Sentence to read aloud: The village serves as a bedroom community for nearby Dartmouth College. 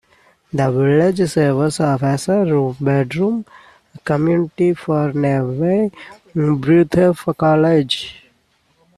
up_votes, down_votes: 0, 2